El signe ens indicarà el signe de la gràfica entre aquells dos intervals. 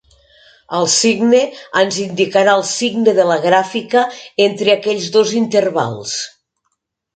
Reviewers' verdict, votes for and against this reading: accepted, 3, 0